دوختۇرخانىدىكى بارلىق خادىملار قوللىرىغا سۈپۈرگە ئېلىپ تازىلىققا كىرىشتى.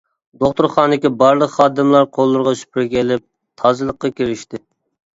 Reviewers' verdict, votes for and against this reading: accepted, 2, 0